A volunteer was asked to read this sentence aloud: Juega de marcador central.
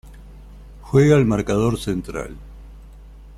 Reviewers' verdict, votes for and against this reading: rejected, 1, 2